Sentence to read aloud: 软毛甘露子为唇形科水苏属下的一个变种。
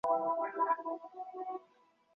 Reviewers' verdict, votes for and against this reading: rejected, 1, 3